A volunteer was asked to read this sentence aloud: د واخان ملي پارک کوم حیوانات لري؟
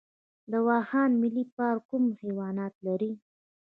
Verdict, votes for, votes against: accepted, 2, 1